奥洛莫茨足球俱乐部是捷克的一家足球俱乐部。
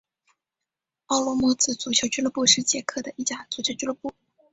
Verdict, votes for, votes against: accepted, 3, 0